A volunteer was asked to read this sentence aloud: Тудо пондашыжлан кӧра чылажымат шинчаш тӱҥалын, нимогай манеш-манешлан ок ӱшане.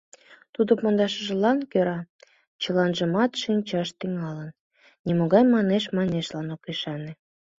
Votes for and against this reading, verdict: 1, 2, rejected